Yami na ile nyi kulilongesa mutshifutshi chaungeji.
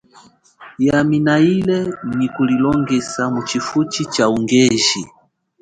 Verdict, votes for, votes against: rejected, 1, 2